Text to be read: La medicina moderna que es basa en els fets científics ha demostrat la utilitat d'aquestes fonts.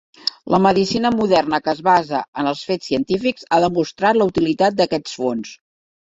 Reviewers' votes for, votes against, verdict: 1, 3, rejected